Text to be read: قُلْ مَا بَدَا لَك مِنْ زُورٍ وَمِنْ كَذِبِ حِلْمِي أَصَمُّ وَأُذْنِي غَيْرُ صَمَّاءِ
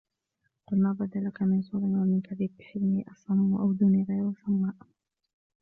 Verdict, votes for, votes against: accepted, 2, 0